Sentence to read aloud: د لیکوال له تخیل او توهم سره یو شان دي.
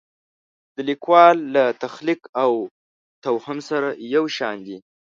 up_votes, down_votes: 0, 3